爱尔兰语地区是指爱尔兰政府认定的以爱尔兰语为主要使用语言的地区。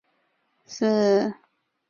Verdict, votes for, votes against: rejected, 0, 2